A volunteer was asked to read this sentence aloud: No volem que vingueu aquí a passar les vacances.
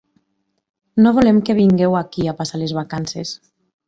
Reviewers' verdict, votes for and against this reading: accepted, 4, 0